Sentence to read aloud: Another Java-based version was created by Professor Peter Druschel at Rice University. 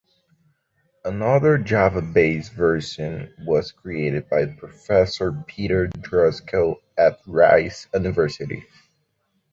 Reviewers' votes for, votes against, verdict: 1, 2, rejected